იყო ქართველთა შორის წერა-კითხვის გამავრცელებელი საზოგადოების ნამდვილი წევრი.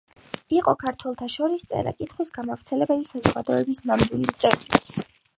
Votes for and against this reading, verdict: 5, 0, accepted